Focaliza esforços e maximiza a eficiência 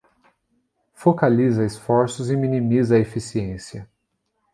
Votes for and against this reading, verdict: 0, 2, rejected